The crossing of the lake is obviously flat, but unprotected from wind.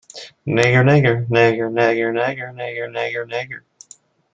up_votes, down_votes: 1, 2